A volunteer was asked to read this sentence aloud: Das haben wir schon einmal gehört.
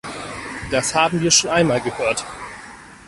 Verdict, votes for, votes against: rejected, 2, 4